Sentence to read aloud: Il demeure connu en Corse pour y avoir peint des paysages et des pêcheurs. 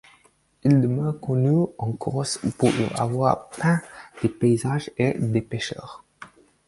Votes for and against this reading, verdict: 4, 0, accepted